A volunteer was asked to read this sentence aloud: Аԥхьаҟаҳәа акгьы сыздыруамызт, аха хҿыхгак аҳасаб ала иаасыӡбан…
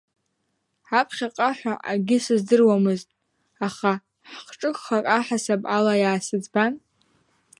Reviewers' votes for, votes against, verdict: 1, 2, rejected